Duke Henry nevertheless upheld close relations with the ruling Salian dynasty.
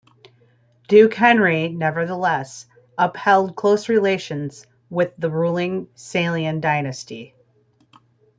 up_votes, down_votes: 2, 1